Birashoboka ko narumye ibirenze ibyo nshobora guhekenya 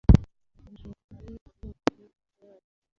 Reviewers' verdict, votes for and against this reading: rejected, 1, 2